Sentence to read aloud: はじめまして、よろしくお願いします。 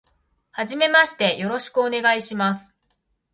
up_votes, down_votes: 2, 0